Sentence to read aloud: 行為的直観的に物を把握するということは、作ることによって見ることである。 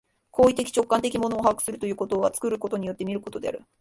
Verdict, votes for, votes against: accepted, 2, 0